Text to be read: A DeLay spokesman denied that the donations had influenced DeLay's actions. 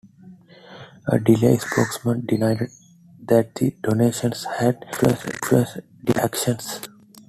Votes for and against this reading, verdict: 1, 2, rejected